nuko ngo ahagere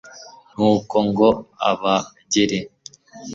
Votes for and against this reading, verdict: 1, 2, rejected